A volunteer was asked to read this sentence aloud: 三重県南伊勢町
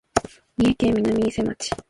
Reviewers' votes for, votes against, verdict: 1, 2, rejected